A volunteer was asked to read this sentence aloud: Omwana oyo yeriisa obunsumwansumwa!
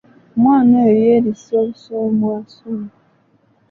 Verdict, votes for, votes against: rejected, 0, 2